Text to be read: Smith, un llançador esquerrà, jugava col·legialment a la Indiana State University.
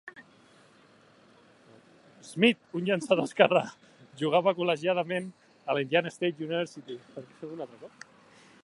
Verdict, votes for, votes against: rejected, 0, 3